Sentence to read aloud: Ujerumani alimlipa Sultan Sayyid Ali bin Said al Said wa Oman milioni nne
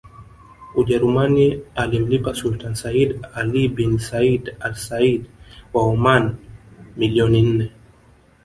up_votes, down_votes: 0, 2